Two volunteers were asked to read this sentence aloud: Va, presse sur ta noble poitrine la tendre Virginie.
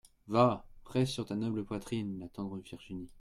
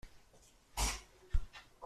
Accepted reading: first